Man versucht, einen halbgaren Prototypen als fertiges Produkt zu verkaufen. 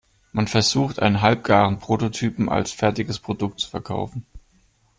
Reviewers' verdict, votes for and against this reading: accepted, 2, 0